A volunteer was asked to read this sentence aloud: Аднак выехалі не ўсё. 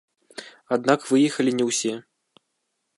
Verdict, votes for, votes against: rejected, 1, 2